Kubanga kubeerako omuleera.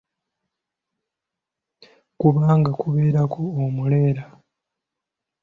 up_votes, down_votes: 2, 1